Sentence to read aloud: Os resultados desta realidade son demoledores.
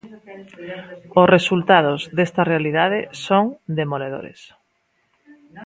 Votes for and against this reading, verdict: 2, 0, accepted